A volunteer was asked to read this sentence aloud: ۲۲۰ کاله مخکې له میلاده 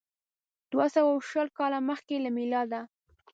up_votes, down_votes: 0, 2